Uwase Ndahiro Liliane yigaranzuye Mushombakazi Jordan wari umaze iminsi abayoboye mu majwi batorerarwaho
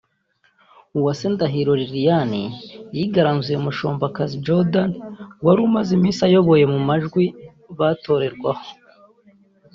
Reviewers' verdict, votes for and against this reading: rejected, 1, 2